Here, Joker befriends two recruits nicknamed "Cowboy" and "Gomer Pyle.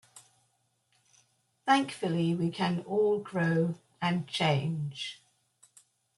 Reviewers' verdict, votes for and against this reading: rejected, 1, 2